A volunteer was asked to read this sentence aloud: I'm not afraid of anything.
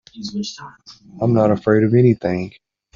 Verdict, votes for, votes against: rejected, 2, 3